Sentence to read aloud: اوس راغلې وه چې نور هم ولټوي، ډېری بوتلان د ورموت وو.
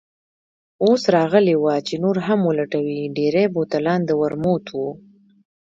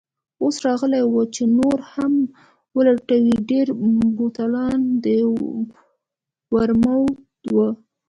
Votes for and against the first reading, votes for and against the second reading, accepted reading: 2, 1, 0, 2, first